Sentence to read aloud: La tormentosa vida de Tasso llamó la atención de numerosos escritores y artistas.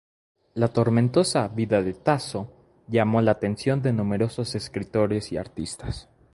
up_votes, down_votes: 4, 0